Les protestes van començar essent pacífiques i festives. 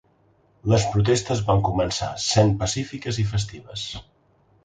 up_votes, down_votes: 1, 2